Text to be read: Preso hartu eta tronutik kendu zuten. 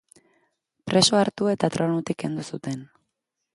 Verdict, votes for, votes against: accepted, 2, 0